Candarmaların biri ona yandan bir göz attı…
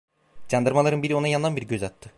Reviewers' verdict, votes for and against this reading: rejected, 1, 2